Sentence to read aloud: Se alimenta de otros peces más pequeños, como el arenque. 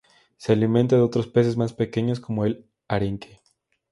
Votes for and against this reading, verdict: 2, 0, accepted